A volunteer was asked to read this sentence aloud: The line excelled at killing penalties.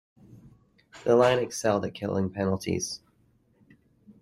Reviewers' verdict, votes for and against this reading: rejected, 1, 2